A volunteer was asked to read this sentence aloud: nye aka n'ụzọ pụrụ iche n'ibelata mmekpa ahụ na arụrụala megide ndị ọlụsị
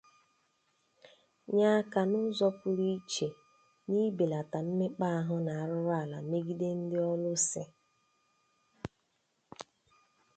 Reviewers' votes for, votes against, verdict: 2, 0, accepted